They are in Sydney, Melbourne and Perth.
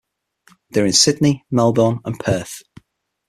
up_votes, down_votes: 6, 3